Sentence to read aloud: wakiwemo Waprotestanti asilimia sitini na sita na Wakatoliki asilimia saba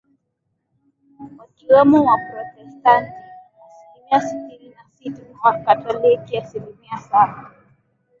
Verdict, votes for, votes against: accepted, 4, 1